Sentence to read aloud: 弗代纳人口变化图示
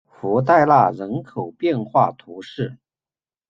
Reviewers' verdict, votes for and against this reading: accepted, 2, 0